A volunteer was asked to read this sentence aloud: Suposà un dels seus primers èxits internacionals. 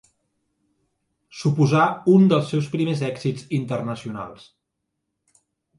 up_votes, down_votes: 3, 0